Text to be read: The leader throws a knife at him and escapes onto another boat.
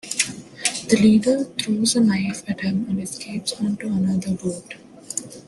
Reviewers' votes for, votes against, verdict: 2, 0, accepted